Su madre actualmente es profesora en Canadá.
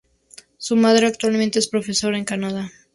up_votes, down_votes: 0, 2